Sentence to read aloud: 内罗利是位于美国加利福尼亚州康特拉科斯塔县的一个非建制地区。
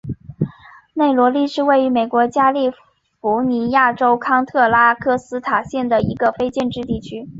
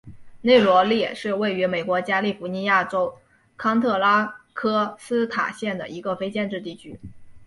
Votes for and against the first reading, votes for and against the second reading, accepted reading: 2, 1, 1, 2, first